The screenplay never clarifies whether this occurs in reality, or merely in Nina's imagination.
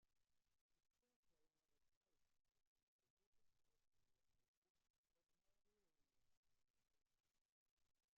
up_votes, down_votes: 0, 2